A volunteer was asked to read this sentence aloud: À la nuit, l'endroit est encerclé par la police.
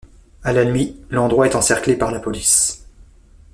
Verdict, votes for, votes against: accepted, 2, 0